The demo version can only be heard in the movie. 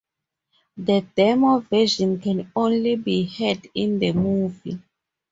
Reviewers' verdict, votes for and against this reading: accepted, 2, 0